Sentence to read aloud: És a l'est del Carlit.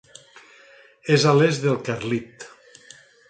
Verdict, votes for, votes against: accepted, 4, 0